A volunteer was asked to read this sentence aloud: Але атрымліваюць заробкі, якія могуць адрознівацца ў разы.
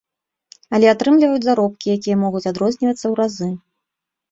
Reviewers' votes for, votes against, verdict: 2, 0, accepted